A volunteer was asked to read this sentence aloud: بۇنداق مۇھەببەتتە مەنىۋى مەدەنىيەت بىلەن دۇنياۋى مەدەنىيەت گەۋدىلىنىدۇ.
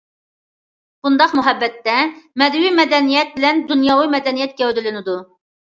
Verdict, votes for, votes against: rejected, 0, 2